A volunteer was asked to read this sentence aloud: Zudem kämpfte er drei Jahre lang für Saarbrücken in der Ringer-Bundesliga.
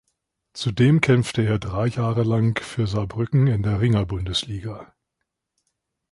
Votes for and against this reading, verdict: 2, 0, accepted